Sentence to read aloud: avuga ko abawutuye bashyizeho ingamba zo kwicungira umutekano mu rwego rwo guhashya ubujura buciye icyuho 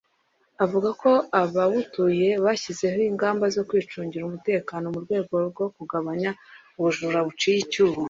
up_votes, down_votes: 1, 2